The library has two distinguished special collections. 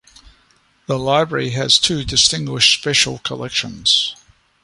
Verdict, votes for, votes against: accepted, 2, 0